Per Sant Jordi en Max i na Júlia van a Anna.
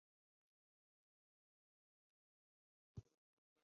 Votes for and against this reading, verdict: 1, 2, rejected